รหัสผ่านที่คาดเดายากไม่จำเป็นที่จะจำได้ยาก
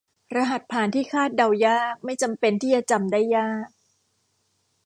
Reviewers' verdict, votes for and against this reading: accepted, 2, 0